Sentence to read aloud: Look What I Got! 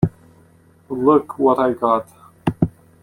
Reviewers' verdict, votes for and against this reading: accepted, 2, 0